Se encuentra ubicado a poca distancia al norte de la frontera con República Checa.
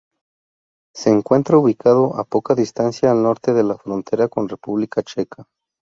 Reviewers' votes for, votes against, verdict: 2, 0, accepted